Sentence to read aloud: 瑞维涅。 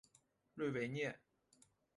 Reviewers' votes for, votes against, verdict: 3, 0, accepted